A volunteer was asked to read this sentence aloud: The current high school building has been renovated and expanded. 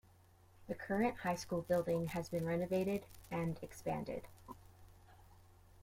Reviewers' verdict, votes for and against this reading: accepted, 2, 0